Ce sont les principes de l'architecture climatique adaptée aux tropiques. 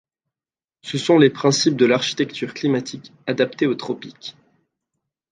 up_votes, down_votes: 2, 0